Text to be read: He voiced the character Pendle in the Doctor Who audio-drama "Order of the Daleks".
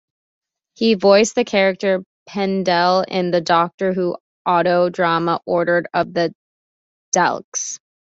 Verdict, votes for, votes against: rejected, 0, 2